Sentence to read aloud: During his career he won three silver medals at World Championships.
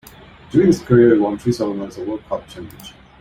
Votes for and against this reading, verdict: 1, 2, rejected